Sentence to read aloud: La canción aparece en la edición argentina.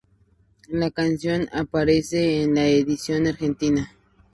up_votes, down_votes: 2, 0